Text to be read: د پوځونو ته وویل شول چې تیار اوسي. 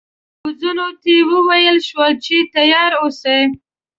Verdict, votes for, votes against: rejected, 0, 2